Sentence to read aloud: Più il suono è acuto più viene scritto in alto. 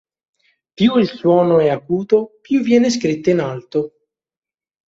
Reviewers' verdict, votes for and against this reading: accepted, 3, 0